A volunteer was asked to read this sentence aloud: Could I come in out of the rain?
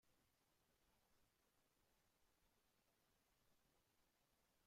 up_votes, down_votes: 0, 2